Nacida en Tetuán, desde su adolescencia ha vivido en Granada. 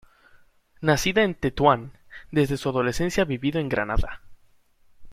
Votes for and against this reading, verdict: 2, 0, accepted